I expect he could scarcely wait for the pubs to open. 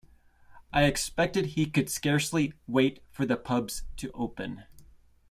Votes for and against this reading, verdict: 0, 2, rejected